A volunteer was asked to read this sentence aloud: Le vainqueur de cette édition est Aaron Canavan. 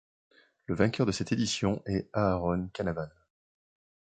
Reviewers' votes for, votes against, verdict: 2, 0, accepted